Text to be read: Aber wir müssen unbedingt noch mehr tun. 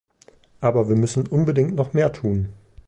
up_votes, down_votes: 2, 0